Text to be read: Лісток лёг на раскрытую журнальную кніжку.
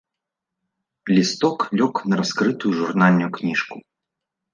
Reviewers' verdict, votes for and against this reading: rejected, 1, 2